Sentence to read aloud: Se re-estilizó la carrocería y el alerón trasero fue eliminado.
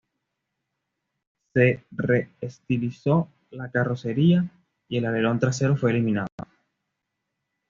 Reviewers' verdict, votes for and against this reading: accepted, 2, 0